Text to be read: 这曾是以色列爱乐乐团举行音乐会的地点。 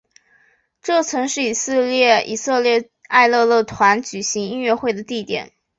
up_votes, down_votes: 3, 7